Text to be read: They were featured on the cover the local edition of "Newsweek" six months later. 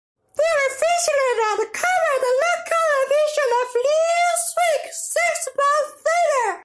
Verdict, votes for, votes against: rejected, 0, 2